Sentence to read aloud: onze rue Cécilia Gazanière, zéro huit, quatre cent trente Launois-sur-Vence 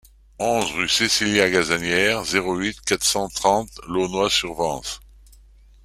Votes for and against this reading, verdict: 2, 0, accepted